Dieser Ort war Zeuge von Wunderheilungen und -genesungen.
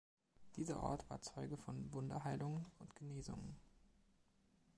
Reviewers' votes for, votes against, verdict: 2, 0, accepted